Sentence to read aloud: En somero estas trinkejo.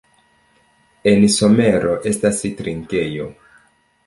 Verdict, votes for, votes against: accepted, 2, 1